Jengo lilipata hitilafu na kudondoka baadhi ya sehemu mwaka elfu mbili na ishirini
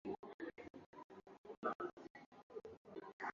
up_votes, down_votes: 0, 2